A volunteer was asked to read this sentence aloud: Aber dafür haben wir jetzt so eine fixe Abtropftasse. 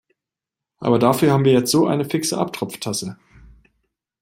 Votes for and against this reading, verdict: 2, 0, accepted